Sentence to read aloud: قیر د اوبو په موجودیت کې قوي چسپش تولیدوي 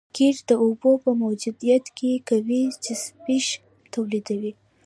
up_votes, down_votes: 2, 1